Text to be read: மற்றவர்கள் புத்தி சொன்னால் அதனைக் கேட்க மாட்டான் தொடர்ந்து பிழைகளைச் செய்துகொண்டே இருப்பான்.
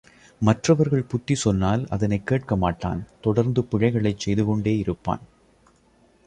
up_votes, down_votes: 3, 0